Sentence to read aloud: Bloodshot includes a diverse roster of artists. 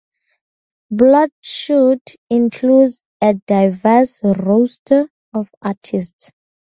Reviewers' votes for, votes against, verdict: 0, 2, rejected